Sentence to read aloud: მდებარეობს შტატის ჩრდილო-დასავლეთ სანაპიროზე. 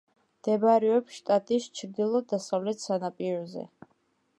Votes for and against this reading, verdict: 2, 0, accepted